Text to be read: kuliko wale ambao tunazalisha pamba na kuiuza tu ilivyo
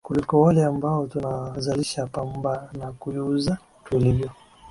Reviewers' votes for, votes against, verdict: 5, 5, rejected